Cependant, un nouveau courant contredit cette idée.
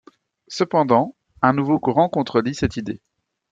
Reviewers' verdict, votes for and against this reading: accepted, 2, 0